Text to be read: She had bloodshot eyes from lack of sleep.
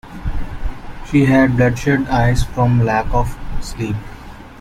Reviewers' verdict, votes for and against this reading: accepted, 2, 0